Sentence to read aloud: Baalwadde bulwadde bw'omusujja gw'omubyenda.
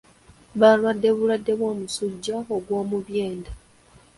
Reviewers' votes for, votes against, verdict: 0, 2, rejected